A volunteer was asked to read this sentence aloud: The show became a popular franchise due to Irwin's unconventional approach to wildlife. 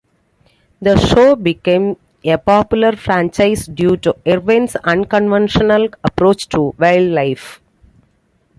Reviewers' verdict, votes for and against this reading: accepted, 2, 0